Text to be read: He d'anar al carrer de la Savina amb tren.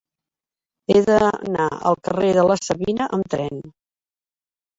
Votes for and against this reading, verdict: 1, 2, rejected